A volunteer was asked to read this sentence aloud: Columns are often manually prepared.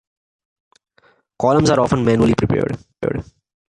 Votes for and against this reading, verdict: 2, 0, accepted